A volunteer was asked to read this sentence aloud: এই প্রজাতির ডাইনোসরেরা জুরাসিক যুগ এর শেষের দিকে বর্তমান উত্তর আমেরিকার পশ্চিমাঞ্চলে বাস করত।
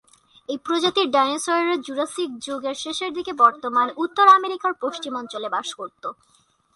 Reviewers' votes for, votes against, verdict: 2, 0, accepted